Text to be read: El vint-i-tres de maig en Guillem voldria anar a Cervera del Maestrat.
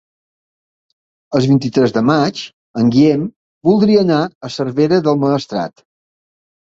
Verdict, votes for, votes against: accepted, 2, 1